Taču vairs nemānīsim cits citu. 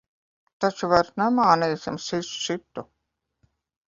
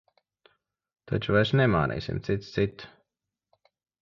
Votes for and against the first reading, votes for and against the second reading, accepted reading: 1, 2, 2, 0, second